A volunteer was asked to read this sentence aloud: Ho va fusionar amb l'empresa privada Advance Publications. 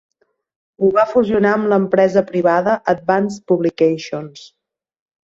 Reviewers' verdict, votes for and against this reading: accepted, 2, 0